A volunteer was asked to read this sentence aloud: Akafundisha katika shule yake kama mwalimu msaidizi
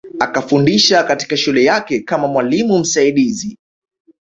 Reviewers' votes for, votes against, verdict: 0, 2, rejected